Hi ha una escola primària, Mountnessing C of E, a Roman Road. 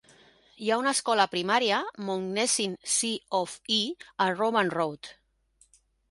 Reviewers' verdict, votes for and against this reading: rejected, 1, 2